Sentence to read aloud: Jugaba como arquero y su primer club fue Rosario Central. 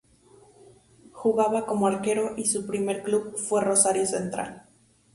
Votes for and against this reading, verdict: 0, 2, rejected